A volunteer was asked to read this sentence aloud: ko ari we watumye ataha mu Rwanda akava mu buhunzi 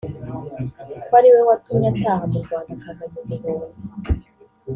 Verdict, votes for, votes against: accepted, 3, 0